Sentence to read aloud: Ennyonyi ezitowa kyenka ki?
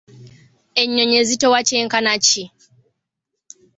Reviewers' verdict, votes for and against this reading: rejected, 1, 2